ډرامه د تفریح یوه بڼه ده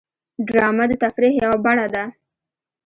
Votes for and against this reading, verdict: 3, 1, accepted